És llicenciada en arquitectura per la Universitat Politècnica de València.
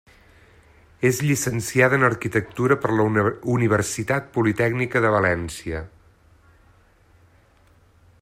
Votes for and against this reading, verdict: 1, 2, rejected